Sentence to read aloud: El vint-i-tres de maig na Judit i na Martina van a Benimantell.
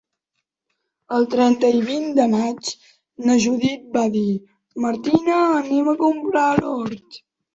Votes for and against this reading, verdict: 0, 3, rejected